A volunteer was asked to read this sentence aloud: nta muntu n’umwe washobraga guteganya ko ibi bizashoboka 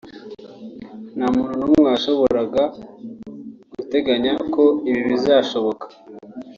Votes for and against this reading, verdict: 0, 2, rejected